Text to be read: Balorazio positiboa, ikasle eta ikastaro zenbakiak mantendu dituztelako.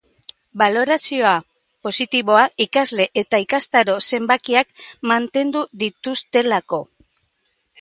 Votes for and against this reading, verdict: 1, 2, rejected